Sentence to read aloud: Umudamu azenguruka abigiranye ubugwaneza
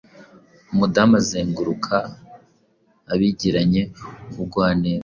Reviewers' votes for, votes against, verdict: 1, 2, rejected